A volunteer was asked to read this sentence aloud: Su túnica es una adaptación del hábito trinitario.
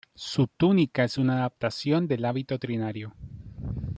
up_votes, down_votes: 0, 2